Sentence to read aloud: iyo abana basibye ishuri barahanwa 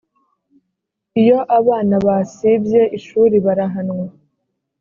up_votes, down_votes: 3, 0